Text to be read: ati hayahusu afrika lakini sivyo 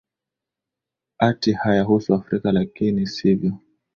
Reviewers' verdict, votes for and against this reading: accepted, 3, 2